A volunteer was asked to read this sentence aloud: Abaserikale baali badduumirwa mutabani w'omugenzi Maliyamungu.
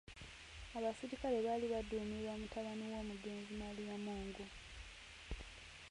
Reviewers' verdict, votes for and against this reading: rejected, 0, 2